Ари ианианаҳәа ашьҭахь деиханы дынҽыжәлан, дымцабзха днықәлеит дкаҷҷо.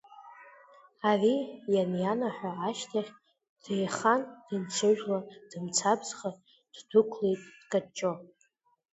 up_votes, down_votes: 2, 1